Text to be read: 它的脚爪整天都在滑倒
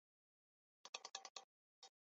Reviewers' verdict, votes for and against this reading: rejected, 0, 2